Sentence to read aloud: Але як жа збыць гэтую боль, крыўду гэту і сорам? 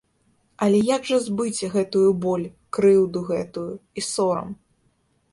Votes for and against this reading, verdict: 0, 2, rejected